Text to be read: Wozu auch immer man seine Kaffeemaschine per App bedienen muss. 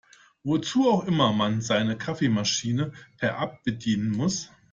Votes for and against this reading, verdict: 2, 0, accepted